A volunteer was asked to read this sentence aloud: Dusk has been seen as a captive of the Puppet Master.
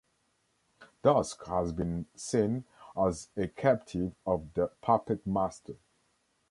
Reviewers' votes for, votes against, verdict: 1, 2, rejected